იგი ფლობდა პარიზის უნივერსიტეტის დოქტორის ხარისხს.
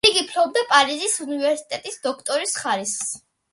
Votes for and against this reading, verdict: 2, 0, accepted